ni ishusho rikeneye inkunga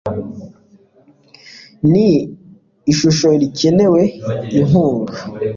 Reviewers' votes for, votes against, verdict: 1, 2, rejected